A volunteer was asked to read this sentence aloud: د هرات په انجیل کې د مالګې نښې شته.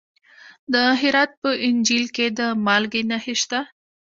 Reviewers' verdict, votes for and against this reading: accepted, 2, 0